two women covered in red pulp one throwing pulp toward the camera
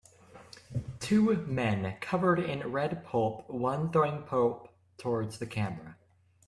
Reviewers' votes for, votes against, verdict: 0, 2, rejected